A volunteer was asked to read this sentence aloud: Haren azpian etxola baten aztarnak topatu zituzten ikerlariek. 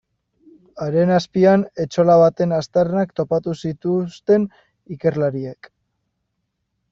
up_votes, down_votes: 1, 2